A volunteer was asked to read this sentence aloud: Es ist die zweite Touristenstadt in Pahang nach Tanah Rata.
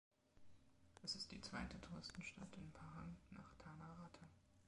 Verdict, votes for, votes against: rejected, 0, 2